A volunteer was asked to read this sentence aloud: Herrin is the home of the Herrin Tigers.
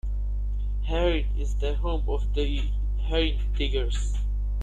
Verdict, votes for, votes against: rejected, 1, 3